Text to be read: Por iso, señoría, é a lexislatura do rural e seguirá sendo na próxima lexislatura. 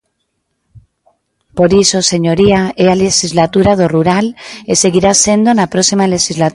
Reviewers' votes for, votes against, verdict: 0, 2, rejected